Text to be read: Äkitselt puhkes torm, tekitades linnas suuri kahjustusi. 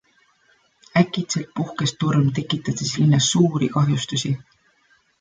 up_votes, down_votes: 2, 1